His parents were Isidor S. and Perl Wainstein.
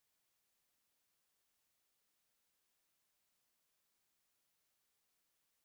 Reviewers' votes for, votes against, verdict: 0, 2, rejected